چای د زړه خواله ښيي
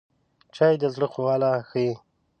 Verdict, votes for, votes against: accepted, 2, 0